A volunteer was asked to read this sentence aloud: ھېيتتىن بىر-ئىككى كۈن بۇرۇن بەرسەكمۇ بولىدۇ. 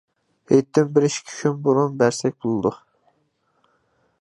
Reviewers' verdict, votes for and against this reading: rejected, 1, 2